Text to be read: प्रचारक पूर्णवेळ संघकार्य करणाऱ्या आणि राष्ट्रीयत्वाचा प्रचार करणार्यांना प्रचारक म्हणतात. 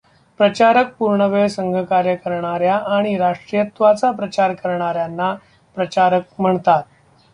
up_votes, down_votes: 1, 2